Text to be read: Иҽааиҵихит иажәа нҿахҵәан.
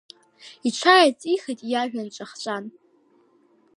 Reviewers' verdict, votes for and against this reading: rejected, 1, 2